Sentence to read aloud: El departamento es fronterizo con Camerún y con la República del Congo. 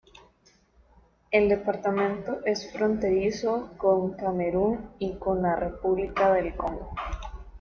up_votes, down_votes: 2, 0